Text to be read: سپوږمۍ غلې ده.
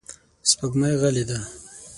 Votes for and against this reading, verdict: 6, 0, accepted